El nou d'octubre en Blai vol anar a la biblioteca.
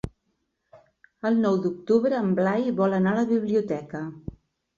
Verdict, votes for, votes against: accepted, 3, 0